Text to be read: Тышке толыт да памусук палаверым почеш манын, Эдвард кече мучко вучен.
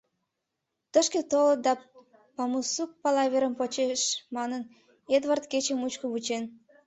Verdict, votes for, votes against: rejected, 0, 2